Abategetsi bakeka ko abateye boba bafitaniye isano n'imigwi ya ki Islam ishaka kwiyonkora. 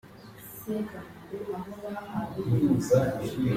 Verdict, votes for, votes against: rejected, 0, 2